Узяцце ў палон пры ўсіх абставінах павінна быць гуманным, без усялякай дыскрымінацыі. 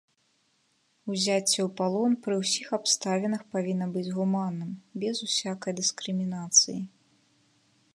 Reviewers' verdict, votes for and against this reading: rejected, 0, 2